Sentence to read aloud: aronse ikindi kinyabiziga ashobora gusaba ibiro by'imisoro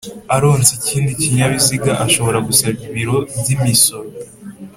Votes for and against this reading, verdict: 3, 0, accepted